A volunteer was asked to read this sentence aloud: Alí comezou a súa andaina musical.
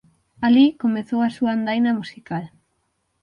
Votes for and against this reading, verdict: 6, 0, accepted